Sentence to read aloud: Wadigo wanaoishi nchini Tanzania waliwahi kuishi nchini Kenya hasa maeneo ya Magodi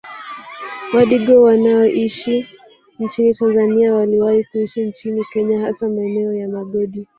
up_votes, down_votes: 1, 2